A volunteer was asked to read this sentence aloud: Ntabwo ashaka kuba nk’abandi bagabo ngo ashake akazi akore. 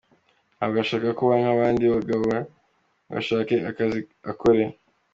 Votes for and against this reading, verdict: 2, 1, accepted